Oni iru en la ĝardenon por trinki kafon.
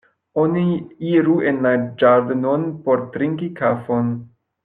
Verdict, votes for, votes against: rejected, 0, 2